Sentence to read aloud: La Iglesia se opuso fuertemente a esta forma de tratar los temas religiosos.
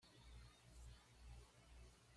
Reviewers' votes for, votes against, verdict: 1, 2, rejected